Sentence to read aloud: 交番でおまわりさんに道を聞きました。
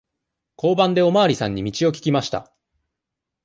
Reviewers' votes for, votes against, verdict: 2, 0, accepted